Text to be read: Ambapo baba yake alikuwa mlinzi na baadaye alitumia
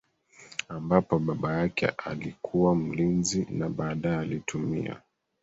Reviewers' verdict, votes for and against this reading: accepted, 2, 0